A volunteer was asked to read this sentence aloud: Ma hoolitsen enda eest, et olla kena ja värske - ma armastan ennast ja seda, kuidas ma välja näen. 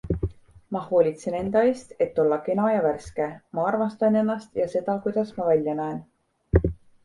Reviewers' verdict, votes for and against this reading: accepted, 2, 0